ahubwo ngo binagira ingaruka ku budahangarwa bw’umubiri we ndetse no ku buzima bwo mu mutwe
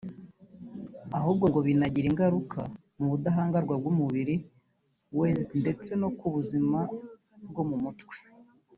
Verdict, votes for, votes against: accepted, 2, 0